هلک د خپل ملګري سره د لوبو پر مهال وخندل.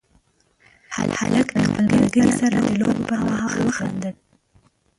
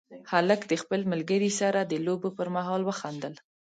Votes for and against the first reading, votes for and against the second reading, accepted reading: 0, 2, 2, 0, second